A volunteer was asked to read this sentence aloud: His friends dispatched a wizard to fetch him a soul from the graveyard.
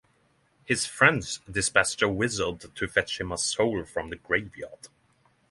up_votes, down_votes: 0, 3